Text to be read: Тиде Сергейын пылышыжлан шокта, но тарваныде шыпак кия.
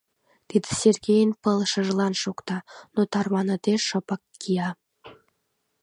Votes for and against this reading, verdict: 2, 0, accepted